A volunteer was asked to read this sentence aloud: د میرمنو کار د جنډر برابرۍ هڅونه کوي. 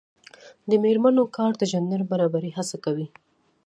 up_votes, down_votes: 2, 0